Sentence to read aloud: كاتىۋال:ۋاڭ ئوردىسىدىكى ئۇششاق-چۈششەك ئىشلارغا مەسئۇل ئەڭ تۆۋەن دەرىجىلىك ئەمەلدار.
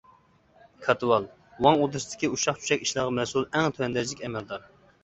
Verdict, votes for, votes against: accepted, 2, 1